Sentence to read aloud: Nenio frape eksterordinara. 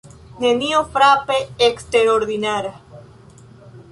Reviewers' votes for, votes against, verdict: 2, 0, accepted